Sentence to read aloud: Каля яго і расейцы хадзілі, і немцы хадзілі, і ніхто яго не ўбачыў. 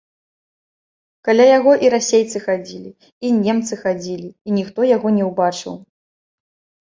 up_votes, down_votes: 2, 0